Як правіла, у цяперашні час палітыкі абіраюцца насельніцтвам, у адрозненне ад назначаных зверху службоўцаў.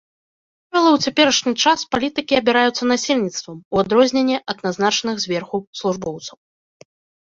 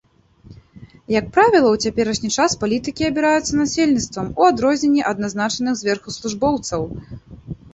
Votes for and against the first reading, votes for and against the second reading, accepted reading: 1, 2, 2, 0, second